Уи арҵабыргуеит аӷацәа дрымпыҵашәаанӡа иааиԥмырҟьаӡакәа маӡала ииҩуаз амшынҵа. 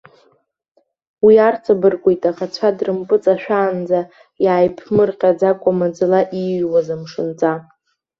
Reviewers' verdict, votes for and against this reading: accepted, 2, 0